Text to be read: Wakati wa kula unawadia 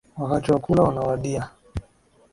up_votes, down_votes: 17, 1